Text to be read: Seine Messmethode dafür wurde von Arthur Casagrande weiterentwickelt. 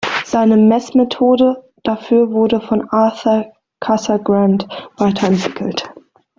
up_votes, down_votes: 2, 0